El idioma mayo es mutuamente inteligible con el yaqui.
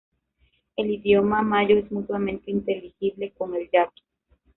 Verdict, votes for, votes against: accepted, 2, 1